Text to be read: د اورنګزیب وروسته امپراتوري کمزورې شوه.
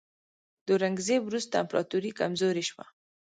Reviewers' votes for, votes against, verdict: 0, 2, rejected